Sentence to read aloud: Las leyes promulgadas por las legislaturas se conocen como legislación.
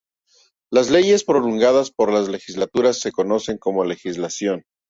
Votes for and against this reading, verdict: 2, 0, accepted